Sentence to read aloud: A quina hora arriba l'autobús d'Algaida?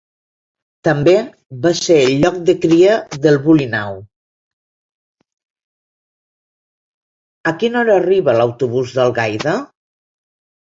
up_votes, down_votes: 0, 2